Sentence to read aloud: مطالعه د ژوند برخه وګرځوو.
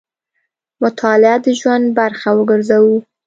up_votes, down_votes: 2, 0